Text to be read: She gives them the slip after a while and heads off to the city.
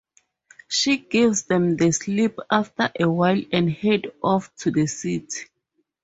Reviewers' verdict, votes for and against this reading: rejected, 0, 2